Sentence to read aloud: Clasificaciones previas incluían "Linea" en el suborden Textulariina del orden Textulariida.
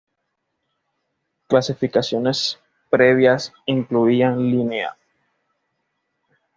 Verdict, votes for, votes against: rejected, 1, 2